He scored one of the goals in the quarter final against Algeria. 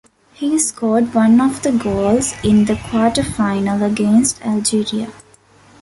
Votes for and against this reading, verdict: 2, 0, accepted